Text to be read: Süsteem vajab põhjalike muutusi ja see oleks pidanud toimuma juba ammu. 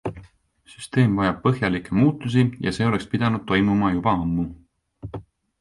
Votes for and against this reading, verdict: 2, 0, accepted